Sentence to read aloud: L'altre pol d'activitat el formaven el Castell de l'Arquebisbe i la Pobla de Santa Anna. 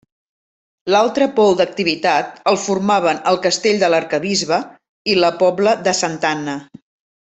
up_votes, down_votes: 2, 0